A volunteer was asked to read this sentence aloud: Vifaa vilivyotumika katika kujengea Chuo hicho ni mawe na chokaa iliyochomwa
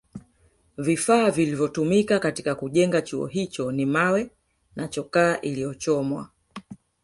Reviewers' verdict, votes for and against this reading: rejected, 1, 2